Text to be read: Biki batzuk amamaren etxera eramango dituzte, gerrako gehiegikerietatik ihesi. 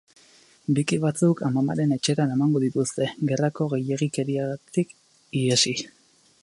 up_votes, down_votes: 2, 2